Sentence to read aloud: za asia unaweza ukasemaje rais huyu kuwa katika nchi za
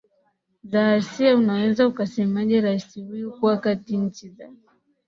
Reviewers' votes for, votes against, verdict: 1, 3, rejected